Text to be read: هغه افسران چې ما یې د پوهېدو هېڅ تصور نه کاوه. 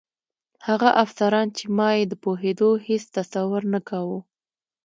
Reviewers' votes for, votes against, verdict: 2, 0, accepted